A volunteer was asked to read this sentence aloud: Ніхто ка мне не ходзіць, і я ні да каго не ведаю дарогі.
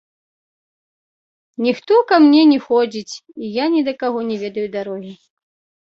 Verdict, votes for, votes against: accepted, 2, 0